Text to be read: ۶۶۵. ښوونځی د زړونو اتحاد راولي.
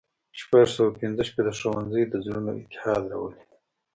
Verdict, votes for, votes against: rejected, 0, 2